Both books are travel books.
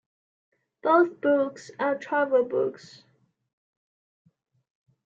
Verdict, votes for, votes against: accepted, 2, 0